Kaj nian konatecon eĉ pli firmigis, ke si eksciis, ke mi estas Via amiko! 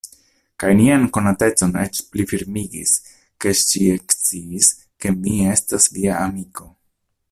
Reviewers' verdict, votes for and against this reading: rejected, 1, 2